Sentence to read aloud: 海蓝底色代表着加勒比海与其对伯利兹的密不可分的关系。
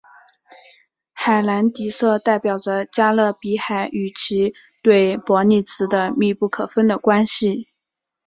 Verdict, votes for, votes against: rejected, 1, 2